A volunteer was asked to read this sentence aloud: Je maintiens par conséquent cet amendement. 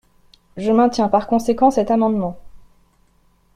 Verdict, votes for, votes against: accepted, 2, 0